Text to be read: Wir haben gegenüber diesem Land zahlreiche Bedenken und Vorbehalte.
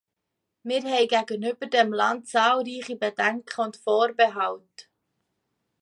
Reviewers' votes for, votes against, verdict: 1, 2, rejected